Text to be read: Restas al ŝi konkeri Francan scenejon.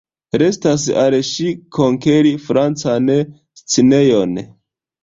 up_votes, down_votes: 0, 2